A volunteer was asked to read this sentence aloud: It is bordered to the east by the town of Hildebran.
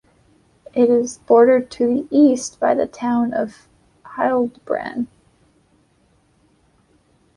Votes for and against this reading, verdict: 0, 2, rejected